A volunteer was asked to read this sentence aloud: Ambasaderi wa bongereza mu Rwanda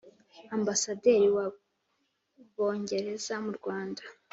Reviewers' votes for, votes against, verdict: 2, 0, accepted